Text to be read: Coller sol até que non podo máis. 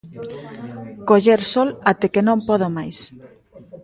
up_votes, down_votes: 0, 3